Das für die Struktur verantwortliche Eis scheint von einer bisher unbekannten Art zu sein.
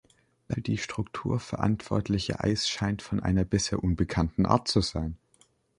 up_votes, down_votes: 1, 3